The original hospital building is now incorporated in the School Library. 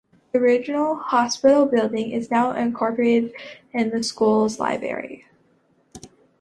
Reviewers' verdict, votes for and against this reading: rejected, 1, 2